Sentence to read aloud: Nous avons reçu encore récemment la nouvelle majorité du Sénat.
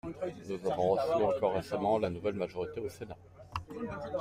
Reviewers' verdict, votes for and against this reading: accepted, 2, 0